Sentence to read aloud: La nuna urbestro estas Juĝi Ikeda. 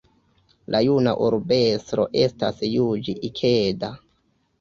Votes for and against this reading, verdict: 0, 2, rejected